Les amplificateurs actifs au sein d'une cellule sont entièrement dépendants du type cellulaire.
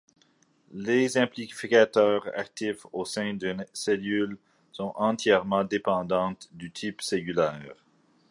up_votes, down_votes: 2, 1